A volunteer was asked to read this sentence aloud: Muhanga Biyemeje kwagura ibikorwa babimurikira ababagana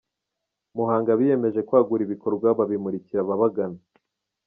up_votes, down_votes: 2, 1